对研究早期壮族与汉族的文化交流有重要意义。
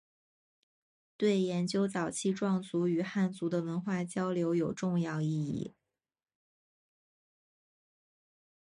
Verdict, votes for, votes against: accepted, 3, 0